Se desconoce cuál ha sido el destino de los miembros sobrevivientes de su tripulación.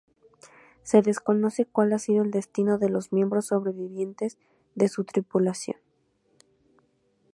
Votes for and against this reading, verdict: 2, 0, accepted